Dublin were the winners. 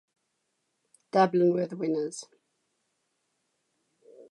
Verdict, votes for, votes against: accepted, 2, 0